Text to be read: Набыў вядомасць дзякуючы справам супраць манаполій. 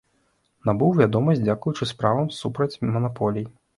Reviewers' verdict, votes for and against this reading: accepted, 2, 0